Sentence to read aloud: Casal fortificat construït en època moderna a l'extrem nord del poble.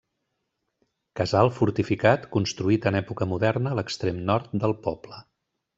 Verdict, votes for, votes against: accepted, 3, 0